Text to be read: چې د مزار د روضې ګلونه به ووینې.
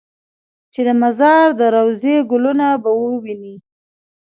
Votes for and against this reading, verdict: 2, 0, accepted